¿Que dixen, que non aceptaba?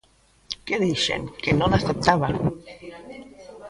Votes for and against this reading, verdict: 1, 2, rejected